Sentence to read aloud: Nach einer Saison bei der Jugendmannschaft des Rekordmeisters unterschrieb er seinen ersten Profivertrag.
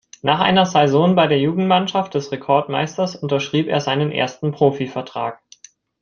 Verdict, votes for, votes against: rejected, 1, 2